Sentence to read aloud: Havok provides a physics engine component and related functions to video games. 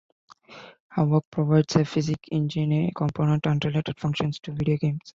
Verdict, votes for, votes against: rejected, 1, 2